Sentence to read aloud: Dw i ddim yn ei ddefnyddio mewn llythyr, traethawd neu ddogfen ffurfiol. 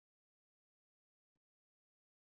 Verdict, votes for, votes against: rejected, 1, 2